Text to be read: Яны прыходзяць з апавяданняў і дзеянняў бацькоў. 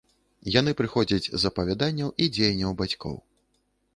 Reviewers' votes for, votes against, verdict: 2, 0, accepted